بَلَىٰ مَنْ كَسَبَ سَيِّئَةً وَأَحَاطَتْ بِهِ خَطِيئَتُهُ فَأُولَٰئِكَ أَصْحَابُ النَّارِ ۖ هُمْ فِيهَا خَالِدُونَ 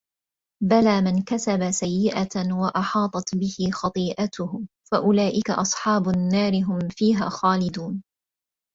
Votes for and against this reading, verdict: 2, 0, accepted